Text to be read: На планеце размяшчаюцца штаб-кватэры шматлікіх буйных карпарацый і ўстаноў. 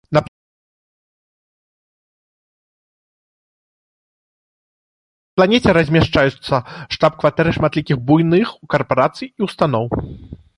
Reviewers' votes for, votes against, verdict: 0, 2, rejected